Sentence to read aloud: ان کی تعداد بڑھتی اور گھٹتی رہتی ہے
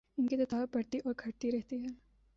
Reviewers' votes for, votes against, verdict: 3, 1, accepted